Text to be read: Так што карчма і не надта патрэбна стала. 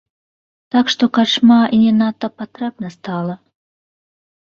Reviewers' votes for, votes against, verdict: 1, 2, rejected